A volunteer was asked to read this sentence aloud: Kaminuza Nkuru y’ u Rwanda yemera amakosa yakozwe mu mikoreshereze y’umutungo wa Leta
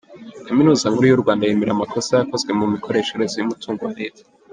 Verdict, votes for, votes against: rejected, 1, 2